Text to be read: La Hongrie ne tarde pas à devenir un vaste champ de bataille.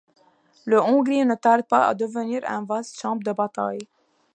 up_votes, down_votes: 2, 1